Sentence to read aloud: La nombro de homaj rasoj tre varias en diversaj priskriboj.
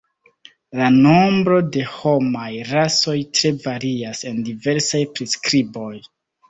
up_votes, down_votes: 2, 0